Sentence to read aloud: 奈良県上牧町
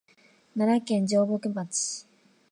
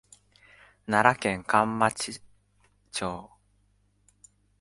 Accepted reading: first